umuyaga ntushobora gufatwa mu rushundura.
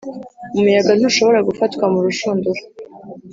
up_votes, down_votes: 2, 0